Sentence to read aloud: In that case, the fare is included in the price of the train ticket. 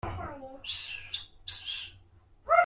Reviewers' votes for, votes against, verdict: 0, 2, rejected